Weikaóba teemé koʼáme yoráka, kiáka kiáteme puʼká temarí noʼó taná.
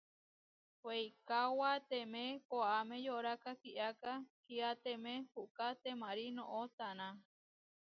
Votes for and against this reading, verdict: 1, 2, rejected